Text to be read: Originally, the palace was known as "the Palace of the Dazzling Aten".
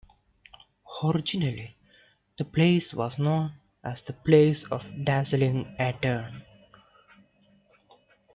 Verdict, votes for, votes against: rejected, 0, 2